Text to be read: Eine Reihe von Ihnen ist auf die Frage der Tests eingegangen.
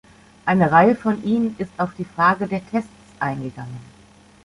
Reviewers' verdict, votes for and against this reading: accepted, 2, 0